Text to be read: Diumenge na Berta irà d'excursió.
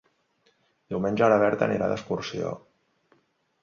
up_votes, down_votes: 0, 2